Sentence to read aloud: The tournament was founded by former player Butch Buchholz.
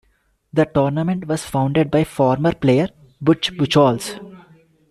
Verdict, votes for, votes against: accepted, 2, 0